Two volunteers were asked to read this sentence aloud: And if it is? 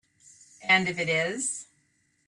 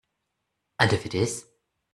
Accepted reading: first